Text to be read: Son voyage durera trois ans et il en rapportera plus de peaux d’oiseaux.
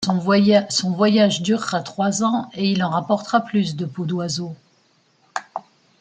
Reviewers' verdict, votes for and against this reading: rejected, 1, 2